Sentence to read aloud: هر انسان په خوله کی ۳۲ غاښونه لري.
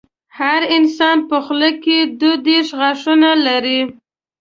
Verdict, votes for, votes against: rejected, 0, 2